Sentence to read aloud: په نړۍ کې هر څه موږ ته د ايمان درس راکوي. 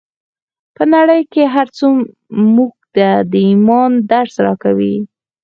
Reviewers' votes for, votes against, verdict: 4, 0, accepted